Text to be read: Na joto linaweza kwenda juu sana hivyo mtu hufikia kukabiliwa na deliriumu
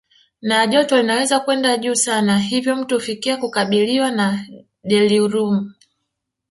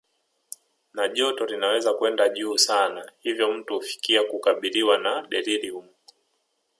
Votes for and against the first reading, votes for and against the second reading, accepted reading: 1, 2, 3, 1, second